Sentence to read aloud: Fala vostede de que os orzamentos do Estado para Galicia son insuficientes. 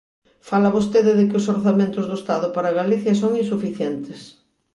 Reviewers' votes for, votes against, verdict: 2, 0, accepted